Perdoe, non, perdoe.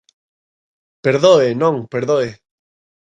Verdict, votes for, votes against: accepted, 2, 0